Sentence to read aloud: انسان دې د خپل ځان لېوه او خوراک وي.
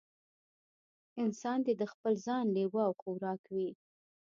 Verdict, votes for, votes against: accepted, 2, 0